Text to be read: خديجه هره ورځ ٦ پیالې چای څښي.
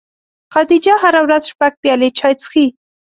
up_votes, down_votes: 0, 2